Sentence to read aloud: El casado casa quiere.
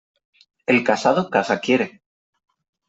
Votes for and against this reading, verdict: 3, 0, accepted